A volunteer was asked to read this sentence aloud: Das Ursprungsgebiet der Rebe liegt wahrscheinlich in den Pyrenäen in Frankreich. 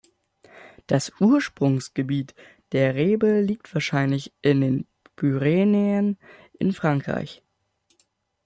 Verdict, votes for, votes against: rejected, 0, 2